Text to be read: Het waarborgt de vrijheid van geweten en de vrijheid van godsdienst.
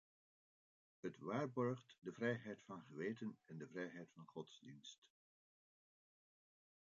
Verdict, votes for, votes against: rejected, 0, 2